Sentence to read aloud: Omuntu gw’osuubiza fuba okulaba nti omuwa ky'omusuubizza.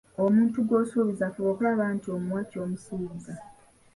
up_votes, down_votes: 2, 1